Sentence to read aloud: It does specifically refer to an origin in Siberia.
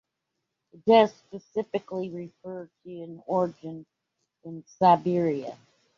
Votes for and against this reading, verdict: 2, 1, accepted